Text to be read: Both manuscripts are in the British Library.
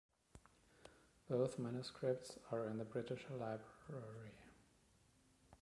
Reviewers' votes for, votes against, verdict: 1, 2, rejected